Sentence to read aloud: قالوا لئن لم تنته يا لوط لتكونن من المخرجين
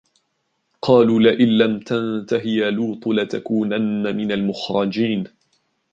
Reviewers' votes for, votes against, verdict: 2, 0, accepted